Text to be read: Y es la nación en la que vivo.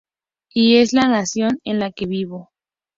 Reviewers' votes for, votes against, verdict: 2, 0, accepted